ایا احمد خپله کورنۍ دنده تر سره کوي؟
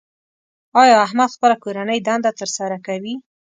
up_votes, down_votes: 2, 0